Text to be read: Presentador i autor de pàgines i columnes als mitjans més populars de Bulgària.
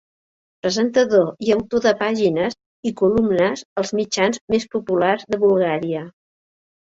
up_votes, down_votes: 2, 0